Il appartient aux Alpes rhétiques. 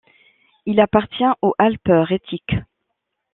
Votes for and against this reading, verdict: 1, 2, rejected